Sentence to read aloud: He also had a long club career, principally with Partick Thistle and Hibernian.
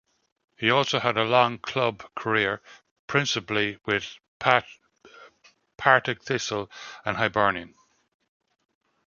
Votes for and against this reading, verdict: 1, 2, rejected